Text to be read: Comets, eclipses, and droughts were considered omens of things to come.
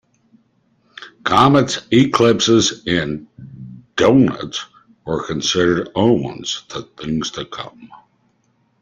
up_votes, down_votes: 0, 2